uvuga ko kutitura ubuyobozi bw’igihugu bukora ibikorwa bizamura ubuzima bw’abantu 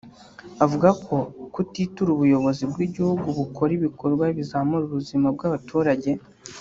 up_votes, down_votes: 1, 2